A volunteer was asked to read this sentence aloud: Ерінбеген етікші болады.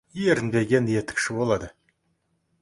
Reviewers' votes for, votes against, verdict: 2, 0, accepted